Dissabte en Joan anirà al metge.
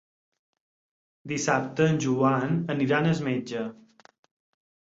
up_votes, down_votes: 2, 4